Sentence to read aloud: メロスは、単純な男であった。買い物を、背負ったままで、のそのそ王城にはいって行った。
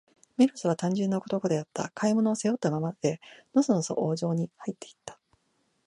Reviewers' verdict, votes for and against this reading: accepted, 2, 0